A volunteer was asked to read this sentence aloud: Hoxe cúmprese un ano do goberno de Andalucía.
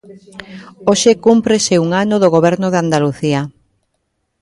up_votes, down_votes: 1, 2